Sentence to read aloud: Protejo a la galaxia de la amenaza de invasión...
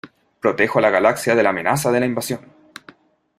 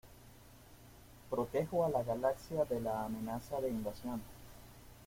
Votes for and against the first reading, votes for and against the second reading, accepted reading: 0, 2, 2, 0, second